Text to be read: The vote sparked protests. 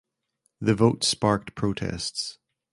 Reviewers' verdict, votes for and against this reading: accepted, 2, 0